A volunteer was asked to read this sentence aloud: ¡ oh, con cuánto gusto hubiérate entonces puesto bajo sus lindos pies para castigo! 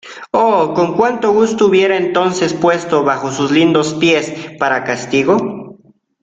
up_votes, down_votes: 0, 2